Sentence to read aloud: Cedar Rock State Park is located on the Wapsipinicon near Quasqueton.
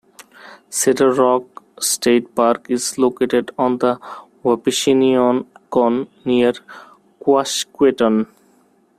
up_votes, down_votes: 1, 2